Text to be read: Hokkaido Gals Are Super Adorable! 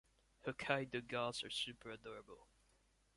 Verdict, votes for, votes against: accepted, 2, 0